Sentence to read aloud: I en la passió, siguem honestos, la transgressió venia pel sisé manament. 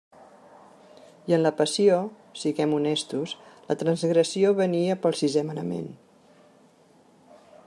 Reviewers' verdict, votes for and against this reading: accepted, 3, 0